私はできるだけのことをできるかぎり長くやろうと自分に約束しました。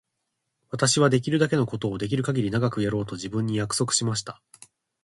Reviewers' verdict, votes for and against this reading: accepted, 2, 0